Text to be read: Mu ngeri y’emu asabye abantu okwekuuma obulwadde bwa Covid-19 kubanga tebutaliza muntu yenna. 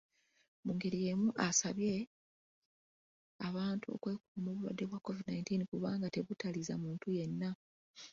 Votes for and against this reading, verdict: 0, 2, rejected